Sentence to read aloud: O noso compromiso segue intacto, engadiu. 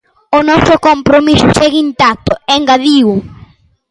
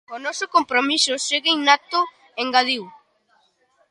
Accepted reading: first